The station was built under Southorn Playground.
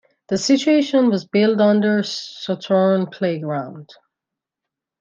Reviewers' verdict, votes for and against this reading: rejected, 0, 2